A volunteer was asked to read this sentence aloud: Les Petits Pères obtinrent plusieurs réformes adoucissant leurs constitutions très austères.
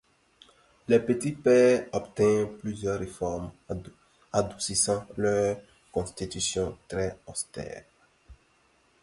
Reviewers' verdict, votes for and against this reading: accepted, 2, 1